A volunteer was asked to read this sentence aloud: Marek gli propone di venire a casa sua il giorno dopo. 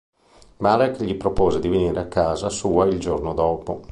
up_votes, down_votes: 1, 2